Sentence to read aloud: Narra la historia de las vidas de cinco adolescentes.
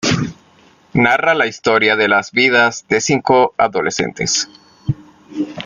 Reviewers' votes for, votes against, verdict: 2, 0, accepted